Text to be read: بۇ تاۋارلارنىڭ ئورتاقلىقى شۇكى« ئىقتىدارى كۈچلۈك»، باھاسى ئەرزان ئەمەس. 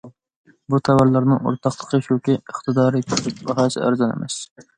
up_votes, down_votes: 2, 0